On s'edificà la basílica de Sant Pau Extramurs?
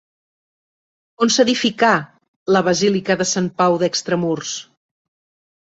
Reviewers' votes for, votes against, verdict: 3, 2, accepted